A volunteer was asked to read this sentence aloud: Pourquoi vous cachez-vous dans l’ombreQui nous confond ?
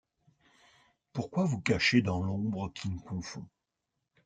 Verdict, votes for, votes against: rejected, 0, 2